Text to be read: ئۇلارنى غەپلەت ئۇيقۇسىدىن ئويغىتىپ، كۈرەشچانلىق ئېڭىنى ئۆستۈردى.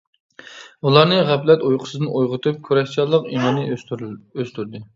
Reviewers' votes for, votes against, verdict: 1, 2, rejected